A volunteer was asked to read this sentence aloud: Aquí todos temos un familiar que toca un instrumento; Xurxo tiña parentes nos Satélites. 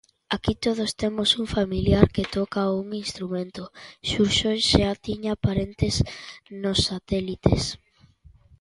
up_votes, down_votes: 0, 2